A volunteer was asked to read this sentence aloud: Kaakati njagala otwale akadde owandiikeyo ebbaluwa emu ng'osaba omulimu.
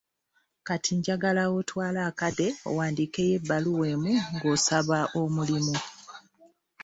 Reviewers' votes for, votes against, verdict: 1, 2, rejected